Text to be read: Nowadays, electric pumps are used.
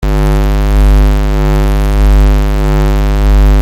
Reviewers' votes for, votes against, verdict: 0, 2, rejected